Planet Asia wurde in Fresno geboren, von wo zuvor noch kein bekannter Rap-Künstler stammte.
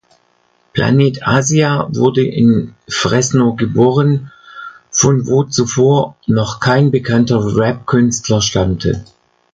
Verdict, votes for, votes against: accepted, 2, 0